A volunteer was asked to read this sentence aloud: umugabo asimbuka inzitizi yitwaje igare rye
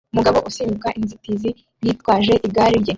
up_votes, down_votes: 2, 1